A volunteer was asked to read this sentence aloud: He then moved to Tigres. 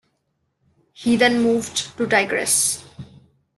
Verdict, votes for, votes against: accepted, 2, 0